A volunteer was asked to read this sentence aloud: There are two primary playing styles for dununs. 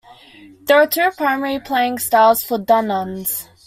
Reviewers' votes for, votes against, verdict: 2, 0, accepted